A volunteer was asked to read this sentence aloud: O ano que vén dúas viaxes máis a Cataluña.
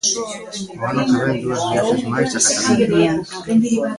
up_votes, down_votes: 0, 3